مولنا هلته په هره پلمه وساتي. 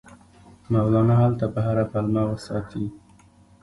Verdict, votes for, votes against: accepted, 2, 0